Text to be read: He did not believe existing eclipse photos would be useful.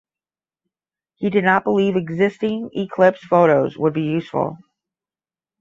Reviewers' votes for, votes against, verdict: 10, 0, accepted